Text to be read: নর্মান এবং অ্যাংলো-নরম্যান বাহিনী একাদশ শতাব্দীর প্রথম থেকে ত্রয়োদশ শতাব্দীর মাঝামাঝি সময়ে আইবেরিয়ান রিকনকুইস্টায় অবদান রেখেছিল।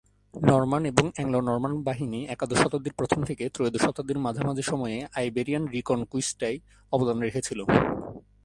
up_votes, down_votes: 0, 2